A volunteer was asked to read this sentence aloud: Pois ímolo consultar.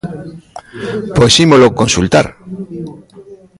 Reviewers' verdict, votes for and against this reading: accepted, 2, 0